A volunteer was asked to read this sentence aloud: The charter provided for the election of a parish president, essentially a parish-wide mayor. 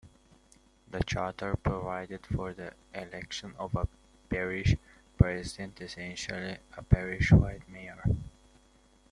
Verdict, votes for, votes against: rejected, 0, 2